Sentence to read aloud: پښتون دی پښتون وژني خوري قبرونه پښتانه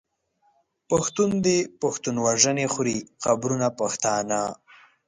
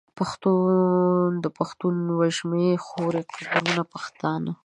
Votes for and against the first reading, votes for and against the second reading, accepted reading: 2, 1, 0, 2, first